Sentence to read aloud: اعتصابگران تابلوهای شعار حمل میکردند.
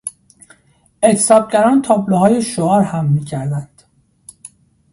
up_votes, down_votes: 1, 2